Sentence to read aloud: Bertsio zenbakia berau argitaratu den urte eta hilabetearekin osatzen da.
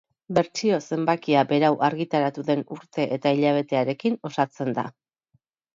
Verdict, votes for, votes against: accepted, 6, 0